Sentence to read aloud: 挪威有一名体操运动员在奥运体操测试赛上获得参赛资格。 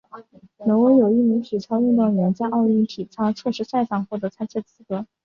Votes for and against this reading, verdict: 2, 0, accepted